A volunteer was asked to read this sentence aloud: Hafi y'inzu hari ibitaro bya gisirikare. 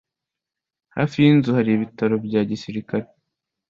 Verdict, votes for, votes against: accepted, 2, 0